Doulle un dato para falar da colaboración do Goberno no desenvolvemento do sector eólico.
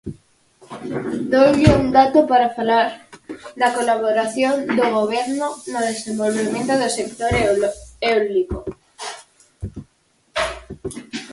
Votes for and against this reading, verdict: 0, 4, rejected